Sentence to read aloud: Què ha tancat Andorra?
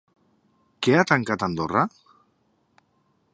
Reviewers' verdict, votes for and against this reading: accepted, 3, 1